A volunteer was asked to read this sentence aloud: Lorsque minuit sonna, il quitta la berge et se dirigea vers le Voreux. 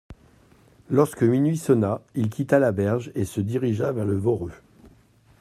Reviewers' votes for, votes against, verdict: 1, 2, rejected